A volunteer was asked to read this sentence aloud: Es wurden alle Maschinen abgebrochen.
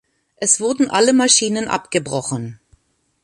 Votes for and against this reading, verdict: 2, 0, accepted